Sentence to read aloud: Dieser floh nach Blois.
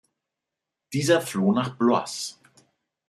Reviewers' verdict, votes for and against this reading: accepted, 2, 0